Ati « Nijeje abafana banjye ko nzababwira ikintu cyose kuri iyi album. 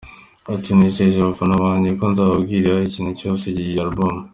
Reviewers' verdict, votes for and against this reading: rejected, 0, 2